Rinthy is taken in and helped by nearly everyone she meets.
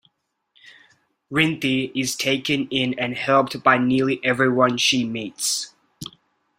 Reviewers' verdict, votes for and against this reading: accepted, 2, 0